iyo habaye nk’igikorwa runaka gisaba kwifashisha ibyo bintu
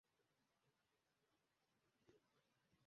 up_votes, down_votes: 0, 2